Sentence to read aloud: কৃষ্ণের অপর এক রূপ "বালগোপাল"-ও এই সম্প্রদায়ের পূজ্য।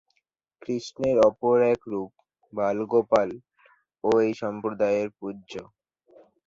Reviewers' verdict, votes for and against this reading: rejected, 2, 4